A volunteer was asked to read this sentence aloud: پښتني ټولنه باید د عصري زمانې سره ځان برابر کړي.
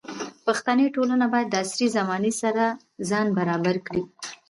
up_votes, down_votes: 1, 2